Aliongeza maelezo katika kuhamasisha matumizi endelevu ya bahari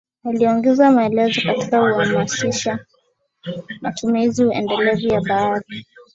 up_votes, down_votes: 6, 3